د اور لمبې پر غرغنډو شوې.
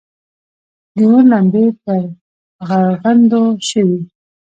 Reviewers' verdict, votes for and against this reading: rejected, 1, 2